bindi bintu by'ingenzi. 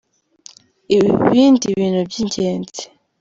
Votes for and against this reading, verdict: 1, 2, rejected